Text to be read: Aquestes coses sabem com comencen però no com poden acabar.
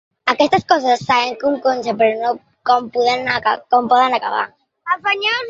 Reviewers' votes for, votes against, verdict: 0, 2, rejected